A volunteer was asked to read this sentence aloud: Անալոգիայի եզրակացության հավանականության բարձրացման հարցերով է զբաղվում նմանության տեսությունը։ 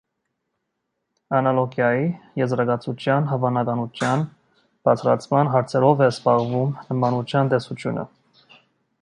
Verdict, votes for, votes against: rejected, 1, 2